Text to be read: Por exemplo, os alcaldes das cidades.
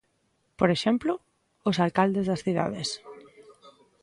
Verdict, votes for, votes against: accepted, 2, 0